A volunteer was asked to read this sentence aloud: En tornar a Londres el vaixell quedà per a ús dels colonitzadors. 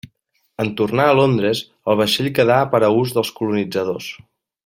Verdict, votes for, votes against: accepted, 2, 0